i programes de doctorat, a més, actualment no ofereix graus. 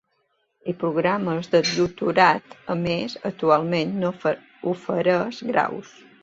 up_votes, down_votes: 0, 2